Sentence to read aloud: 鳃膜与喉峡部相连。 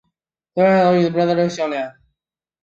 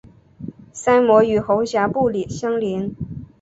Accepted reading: second